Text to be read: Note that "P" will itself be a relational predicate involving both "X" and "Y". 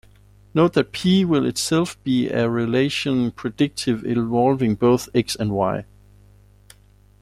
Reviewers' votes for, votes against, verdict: 0, 2, rejected